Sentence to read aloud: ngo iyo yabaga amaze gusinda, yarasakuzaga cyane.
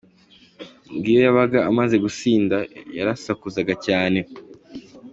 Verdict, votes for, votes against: accepted, 2, 1